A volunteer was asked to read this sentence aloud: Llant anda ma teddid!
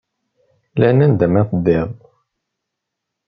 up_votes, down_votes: 0, 2